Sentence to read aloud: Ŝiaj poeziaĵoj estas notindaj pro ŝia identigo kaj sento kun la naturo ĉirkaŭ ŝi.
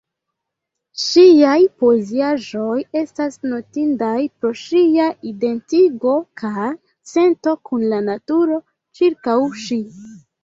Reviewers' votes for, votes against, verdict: 0, 2, rejected